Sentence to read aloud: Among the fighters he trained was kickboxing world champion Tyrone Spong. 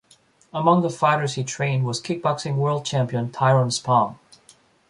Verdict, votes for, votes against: accepted, 2, 0